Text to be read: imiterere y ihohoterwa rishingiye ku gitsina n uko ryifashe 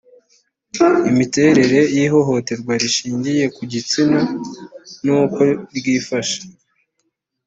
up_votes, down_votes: 2, 0